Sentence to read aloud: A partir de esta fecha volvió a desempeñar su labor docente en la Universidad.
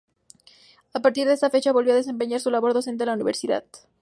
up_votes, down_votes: 2, 0